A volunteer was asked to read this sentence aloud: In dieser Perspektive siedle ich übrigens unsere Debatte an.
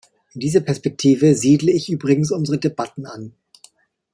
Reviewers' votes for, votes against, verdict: 1, 2, rejected